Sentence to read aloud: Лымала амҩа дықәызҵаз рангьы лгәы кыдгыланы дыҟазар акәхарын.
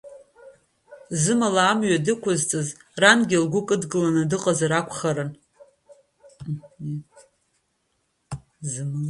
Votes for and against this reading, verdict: 0, 2, rejected